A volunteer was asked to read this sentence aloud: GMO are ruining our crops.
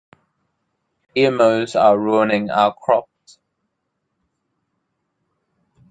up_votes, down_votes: 2, 3